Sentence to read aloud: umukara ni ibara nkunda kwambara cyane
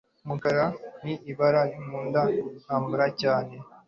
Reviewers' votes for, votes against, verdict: 2, 0, accepted